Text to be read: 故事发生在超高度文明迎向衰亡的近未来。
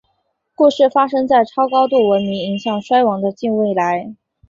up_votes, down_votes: 2, 1